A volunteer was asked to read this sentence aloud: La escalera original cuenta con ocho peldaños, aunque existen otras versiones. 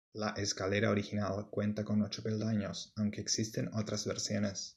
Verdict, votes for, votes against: accepted, 2, 0